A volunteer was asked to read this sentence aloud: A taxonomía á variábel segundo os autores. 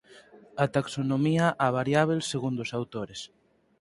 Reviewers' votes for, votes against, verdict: 4, 0, accepted